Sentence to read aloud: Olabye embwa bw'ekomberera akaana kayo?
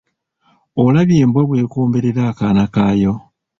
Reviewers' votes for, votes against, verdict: 2, 0, accepted